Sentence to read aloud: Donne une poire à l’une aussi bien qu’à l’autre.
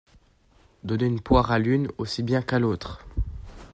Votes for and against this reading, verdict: 1, 2, rejected